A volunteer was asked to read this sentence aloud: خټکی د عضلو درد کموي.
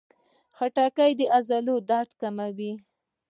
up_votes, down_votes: 0, 2